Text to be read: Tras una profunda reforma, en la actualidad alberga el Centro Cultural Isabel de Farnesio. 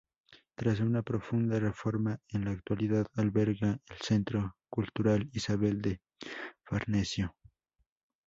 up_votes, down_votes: 8, 0